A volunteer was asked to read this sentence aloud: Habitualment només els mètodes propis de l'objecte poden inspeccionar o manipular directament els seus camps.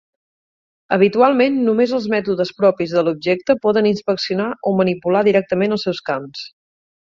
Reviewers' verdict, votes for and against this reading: accepted, 4, 0